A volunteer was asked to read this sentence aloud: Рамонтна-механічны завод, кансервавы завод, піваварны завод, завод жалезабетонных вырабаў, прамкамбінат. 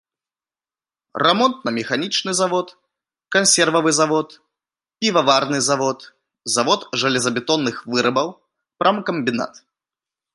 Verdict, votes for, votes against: accepted, 2, 0